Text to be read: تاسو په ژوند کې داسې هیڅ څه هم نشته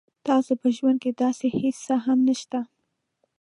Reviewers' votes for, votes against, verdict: 2, 0, accepted